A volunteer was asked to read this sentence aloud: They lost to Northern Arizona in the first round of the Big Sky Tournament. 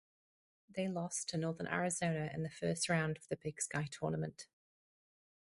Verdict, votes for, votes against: accepted, 4, 0